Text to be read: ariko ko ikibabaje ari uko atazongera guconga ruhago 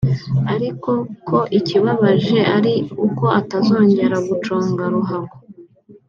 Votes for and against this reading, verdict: 2, 0, accepted